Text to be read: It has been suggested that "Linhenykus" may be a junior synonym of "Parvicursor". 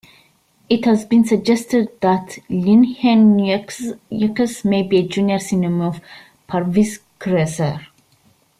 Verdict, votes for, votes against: rejected, 0, 2